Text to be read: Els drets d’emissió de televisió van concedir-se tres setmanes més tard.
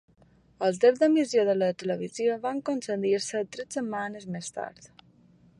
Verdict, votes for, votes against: accepted, 2, 1